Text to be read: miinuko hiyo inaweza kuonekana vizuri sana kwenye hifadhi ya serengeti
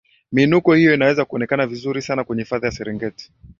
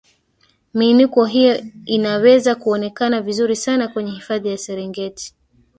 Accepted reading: first